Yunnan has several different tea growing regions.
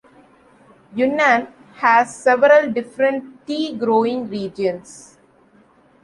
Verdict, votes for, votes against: accepted, 2, 0